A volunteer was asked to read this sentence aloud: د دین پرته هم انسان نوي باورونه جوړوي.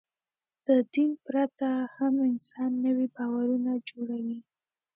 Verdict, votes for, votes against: accepted, 2, 0